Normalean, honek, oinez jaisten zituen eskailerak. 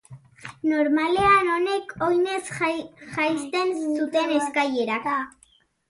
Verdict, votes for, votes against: rejected, 1, 4